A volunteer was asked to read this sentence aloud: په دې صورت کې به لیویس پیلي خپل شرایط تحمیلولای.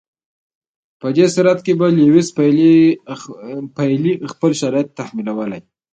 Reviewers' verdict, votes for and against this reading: rejected, 0, 2